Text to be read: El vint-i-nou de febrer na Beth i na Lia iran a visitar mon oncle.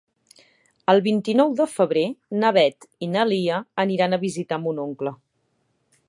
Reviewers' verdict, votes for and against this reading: accepted, 2, 0